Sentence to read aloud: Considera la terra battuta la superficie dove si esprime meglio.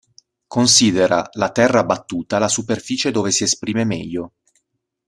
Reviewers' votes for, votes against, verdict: 2, 0, accepted